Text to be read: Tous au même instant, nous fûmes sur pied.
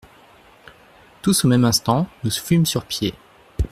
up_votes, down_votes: 2, 0